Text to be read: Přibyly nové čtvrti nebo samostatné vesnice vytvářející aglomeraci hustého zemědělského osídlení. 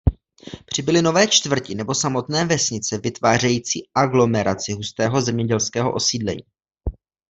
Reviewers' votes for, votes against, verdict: 1, 2, rejected